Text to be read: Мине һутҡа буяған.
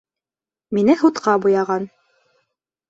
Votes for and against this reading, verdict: 2, 0, accepted